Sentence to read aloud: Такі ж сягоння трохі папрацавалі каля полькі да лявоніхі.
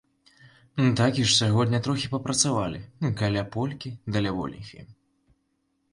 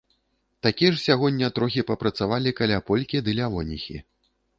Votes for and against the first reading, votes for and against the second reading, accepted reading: 2, 1, 0, 2, first